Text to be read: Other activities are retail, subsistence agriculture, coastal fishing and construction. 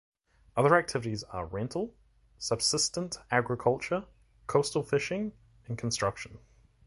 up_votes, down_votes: 1, 2